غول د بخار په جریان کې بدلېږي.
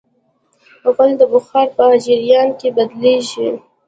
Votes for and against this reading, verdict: 2, 0, accepted